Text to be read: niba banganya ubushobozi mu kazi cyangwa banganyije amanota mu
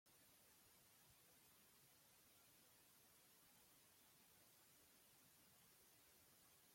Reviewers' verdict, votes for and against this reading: rejected, 1, 2